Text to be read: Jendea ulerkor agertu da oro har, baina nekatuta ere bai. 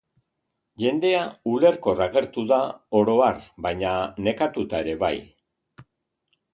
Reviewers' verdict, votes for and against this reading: accepted, 2, 0